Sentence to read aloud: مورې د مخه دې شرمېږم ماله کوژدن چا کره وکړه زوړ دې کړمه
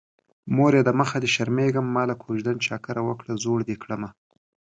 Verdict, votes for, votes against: accepted, 3, 0